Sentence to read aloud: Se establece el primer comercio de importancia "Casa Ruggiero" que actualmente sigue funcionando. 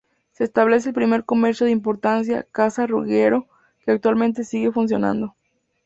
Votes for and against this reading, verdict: 2, 2, rejected